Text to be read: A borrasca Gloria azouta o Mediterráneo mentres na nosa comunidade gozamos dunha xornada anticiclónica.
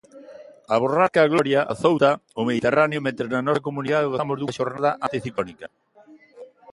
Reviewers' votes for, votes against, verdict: 0, 2, rejected